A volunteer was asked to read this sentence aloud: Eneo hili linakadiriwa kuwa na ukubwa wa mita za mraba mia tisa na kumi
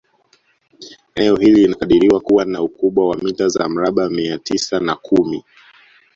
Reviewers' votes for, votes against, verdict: 1, 2, rejected